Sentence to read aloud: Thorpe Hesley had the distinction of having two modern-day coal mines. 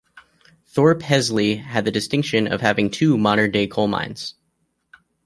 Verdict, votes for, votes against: accepted, 2, 0